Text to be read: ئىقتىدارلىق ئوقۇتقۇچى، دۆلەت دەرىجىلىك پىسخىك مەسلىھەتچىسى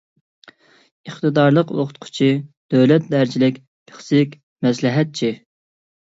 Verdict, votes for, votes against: rejected, 1, 2